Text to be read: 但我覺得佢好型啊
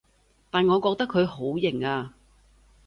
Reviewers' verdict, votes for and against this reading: accepted, 2, 0